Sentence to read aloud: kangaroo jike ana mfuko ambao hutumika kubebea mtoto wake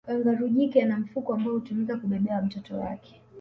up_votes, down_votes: 3, 1